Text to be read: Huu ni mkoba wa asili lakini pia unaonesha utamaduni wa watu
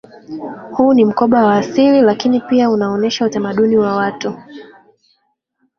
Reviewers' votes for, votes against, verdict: 2, 5, rejected